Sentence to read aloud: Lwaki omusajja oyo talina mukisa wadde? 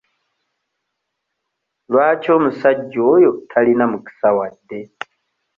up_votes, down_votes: 1, 2